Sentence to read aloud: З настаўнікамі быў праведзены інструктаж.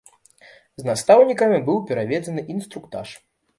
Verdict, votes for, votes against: rejected, 0, 2